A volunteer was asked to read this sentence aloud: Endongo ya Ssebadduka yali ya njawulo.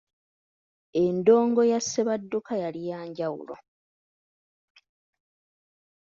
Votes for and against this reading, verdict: 2, 1, accepted